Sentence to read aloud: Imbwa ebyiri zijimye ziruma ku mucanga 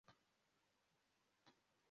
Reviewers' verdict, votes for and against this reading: rejected, 0, 2